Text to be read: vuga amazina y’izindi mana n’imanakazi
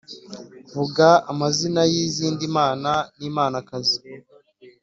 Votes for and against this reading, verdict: 4, 0, accepted